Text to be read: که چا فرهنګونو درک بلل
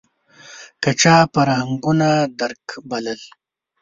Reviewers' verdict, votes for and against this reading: accepted, 2, 0